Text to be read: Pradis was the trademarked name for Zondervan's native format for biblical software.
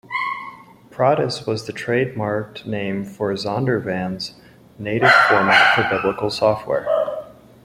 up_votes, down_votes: 1, 2